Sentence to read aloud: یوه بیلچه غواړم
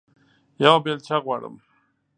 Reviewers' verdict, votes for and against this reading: accepted, 2, 0